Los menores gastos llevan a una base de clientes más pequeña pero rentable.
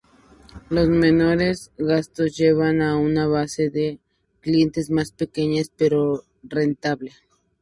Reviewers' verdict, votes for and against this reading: accepted, 2, 0